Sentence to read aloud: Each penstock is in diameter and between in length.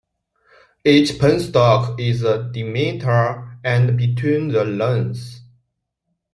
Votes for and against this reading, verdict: 0, 2, rejected